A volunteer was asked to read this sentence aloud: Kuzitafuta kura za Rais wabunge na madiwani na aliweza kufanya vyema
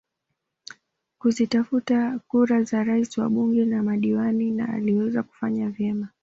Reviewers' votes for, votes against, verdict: 2, 0, accepted